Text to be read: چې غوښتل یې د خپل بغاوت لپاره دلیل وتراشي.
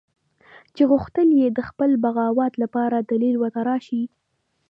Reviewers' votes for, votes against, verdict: 5, 2, accepted